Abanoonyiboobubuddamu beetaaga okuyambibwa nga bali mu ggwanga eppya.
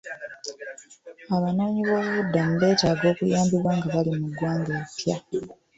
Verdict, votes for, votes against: accepted, 2, 1